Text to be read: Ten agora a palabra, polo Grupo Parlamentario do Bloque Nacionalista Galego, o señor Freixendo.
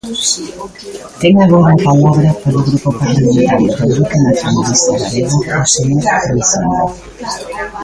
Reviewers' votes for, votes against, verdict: 0, 3, rejected